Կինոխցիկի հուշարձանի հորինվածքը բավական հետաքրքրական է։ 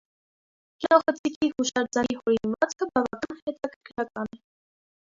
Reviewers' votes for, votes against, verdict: 0, 2, rejected